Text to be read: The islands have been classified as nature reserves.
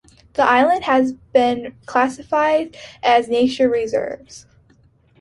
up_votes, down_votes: 2, 0